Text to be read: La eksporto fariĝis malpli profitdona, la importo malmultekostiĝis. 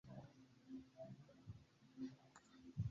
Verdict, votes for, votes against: accepted, 2, 1